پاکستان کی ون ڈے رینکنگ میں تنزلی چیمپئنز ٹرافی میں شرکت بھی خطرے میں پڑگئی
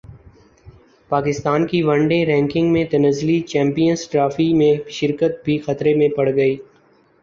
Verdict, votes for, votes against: accepted, 2, 0